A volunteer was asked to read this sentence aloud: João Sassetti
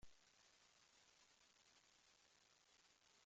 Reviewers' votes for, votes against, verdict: 0, 2, rejected